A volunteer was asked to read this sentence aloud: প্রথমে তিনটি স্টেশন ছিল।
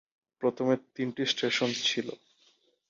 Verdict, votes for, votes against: accepted, 10, 2